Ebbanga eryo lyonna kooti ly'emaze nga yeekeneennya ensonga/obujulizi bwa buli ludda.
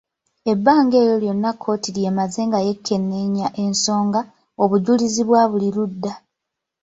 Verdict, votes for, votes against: rejected, 0, 2